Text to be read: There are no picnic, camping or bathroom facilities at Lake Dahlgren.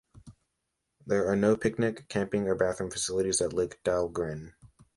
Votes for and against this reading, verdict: 2, 0, accepted